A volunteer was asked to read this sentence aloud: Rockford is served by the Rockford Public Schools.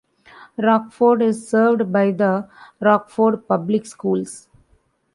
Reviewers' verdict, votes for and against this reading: accepted, 2, 0